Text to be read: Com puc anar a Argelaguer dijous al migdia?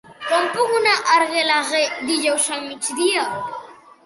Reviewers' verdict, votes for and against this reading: rejected, 1, 2